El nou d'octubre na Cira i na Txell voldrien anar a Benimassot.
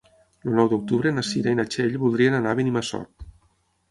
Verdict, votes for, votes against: rejected, 0, 6